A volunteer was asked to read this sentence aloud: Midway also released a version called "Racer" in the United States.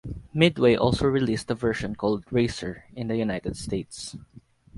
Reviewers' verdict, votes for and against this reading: accepted, 4, 0